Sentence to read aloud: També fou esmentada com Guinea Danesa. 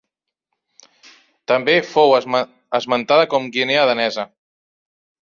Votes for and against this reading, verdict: 0, 2, rejected